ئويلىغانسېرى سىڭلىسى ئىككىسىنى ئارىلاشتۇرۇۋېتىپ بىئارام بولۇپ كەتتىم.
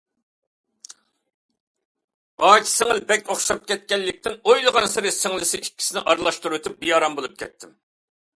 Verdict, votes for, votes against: rejected, 0, 2